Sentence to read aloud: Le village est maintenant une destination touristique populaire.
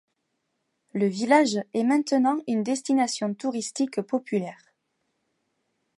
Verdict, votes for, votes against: accepted, 2, 1